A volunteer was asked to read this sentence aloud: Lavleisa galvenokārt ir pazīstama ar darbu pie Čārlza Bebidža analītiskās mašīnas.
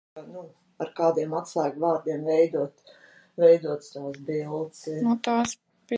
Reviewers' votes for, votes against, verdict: 0, 2, rejected